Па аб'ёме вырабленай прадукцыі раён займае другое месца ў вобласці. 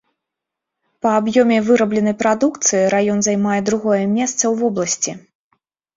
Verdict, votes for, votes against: accepted, 2, 0